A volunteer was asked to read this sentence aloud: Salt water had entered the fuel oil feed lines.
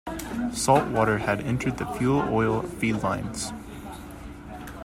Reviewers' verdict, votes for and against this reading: accepted, 2, 0